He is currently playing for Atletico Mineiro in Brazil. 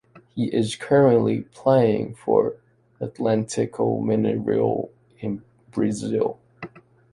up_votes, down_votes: 2, 0